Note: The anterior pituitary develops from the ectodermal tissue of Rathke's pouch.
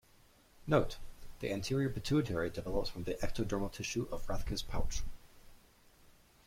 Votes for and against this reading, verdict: 2, 1, accepted